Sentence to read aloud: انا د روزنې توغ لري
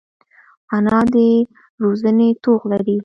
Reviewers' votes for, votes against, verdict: 2, 0, accepted